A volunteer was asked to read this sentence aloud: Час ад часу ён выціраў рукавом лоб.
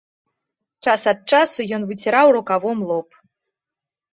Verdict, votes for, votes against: accepted, 2, 0